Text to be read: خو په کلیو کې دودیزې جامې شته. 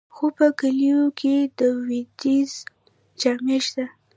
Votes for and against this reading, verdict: 0, 2, rejected